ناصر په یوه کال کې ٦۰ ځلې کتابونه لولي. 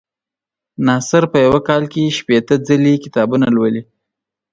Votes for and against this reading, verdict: 0, 2, rejected